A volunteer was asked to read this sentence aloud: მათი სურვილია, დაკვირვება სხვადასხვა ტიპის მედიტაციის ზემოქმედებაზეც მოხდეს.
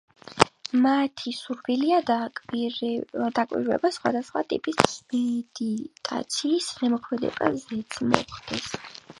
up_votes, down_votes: 1, 5